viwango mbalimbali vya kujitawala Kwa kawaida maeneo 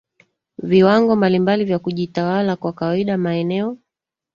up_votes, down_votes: 1, 2